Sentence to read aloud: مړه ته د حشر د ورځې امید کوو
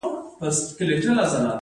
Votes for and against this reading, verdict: 0, 2, rejected